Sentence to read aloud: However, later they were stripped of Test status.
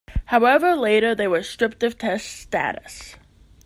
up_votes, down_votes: 2, 0